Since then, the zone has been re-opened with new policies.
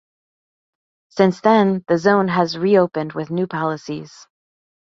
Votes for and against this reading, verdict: 2, 1, accepted